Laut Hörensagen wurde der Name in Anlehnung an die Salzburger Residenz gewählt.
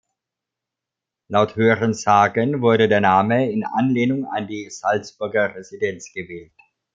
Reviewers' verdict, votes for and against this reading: accepted, 2, 0